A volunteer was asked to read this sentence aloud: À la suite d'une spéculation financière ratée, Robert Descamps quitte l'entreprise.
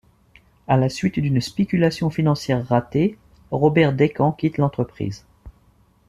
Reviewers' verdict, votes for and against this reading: accepted, 2, 0